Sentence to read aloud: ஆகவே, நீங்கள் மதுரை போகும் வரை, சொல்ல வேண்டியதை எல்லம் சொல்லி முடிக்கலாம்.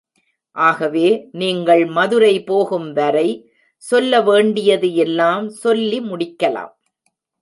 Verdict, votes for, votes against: rejected, 1, 2